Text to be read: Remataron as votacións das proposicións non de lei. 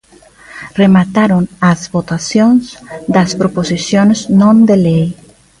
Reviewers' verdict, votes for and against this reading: accepted, 3, 0